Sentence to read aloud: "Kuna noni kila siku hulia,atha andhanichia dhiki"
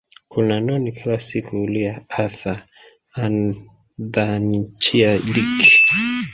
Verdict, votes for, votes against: rejected, 1, 2